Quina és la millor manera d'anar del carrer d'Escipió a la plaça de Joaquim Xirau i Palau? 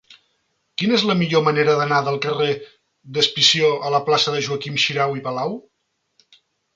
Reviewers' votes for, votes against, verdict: 0, 2, rejected